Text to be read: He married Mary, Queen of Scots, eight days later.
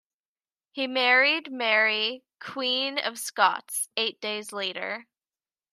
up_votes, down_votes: 2, 0